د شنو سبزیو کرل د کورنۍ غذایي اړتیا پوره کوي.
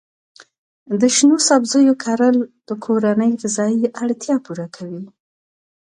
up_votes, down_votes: 2, 0